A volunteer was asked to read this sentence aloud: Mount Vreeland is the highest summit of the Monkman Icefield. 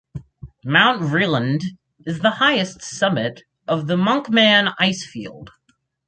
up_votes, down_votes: 4, 2